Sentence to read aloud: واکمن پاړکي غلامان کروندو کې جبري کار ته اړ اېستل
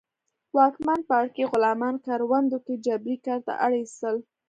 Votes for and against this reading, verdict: 2, 0, accepted